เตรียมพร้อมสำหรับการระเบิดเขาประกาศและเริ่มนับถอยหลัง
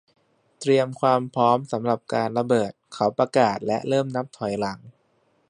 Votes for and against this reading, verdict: 1, 2, rejected